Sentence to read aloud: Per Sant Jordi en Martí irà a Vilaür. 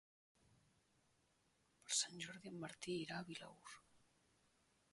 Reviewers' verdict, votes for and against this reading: rejected, 1, 2